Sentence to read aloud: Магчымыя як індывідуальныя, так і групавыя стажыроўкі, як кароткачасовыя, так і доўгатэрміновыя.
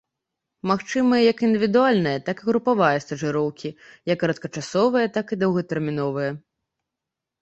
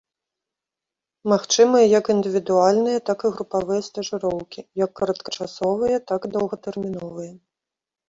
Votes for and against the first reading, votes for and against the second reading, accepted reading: 1, 2, 2, 0, second